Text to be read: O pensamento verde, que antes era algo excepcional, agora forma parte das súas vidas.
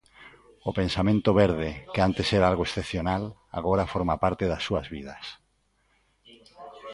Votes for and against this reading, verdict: 1, 2, rejected